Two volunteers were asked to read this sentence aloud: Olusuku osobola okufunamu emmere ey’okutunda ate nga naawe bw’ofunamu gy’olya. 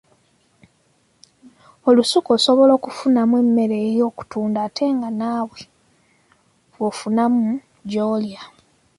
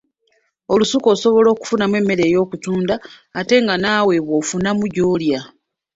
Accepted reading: first